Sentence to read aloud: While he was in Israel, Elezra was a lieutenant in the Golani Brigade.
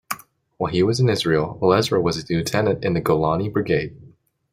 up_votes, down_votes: 2, 0